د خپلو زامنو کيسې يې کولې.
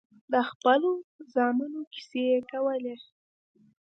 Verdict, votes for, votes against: accepted, 2, 0